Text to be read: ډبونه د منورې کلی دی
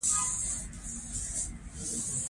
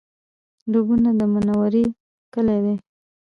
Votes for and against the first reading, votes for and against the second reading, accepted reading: 1, 2, 2, 0, second